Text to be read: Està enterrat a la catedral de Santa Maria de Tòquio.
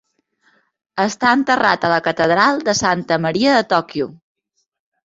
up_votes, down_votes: 2, 0